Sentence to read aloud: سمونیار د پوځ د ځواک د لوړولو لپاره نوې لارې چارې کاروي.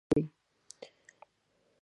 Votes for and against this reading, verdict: 0, 2, rejected